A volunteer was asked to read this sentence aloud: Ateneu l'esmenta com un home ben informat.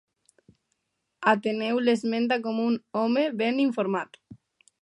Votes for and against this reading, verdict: 2, 0, accepted